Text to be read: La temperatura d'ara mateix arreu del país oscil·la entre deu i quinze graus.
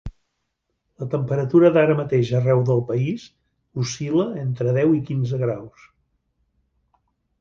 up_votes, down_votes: 6, 0